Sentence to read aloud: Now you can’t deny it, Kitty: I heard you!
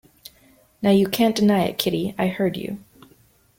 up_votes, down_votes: 2, 0